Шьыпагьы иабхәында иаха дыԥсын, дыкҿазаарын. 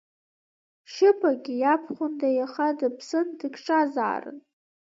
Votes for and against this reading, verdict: 1, 2, rejected